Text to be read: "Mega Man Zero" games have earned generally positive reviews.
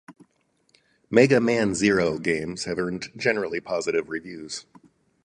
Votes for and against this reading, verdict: 4, 0, accepted